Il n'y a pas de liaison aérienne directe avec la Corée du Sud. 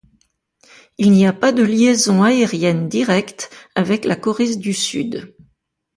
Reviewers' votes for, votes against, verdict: 0, 2, rejected